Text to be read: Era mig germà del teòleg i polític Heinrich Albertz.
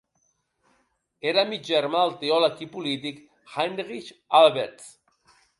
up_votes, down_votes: 2, 3